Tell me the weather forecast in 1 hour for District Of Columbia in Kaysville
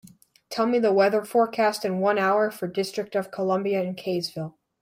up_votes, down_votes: 0, 2